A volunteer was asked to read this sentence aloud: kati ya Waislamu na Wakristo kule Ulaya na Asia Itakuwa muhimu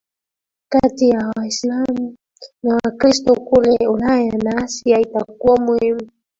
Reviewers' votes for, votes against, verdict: 2, 0, accepted